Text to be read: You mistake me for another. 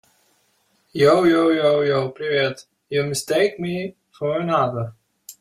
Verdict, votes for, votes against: rejected, 0, 2